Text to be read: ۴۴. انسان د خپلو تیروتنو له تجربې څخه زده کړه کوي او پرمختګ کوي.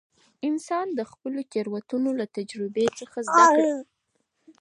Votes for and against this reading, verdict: 0, 2, rejected